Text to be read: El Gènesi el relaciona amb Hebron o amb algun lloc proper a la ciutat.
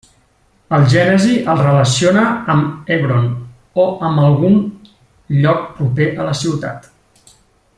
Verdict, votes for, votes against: rejected, 1, 3